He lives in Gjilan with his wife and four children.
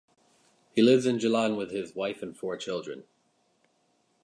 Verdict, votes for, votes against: accepted, 2, 0